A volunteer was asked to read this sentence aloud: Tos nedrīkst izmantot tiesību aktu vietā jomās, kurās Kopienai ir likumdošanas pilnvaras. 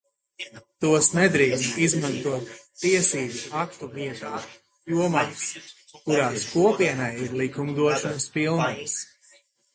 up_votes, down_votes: 2, 0